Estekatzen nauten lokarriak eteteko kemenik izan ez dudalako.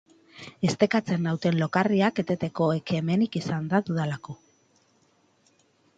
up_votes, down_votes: 0, 2